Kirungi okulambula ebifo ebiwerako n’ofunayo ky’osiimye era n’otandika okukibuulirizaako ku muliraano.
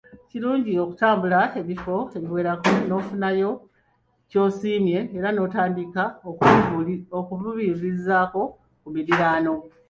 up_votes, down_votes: 0, 2